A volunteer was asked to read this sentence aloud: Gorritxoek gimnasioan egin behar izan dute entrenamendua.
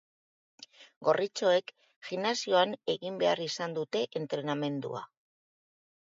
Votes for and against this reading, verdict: 3, 0, accepted